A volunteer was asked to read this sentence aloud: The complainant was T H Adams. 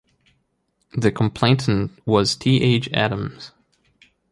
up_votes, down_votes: 2, 1